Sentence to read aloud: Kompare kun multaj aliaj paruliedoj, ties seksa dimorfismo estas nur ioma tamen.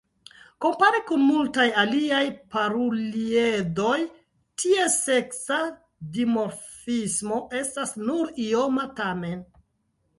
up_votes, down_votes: 2, 0